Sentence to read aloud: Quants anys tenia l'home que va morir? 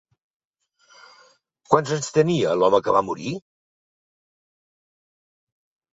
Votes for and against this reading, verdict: 3, 0, accepted